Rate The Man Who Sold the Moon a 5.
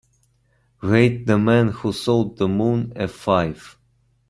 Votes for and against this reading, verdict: 0, 2, rejected